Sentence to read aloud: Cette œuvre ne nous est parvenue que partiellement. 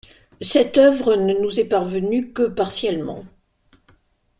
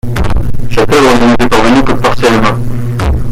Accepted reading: first